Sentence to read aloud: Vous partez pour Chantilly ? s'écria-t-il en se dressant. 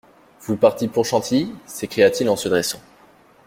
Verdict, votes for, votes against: rejected, 1, 2